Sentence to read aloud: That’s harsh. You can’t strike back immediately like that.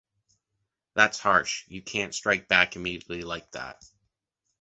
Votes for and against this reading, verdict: 2, 0, accepted